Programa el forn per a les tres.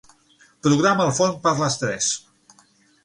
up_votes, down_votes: 3, 6